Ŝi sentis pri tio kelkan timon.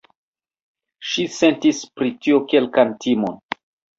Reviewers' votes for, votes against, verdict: 2, 0, accepted